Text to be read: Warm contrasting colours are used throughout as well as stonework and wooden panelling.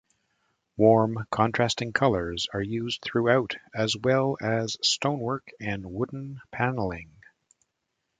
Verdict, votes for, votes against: accepted, 2, 1